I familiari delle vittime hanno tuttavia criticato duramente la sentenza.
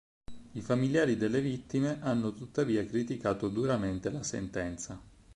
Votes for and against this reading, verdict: 4, 0, accepted